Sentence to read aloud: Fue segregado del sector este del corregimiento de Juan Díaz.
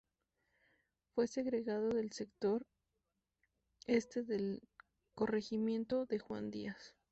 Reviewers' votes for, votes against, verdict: 2, 0, accepted